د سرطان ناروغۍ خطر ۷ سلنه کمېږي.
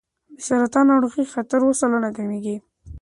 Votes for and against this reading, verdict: 0, 2, rejected